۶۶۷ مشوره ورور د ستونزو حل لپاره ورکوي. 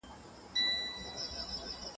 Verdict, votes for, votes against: rejected, 0, 2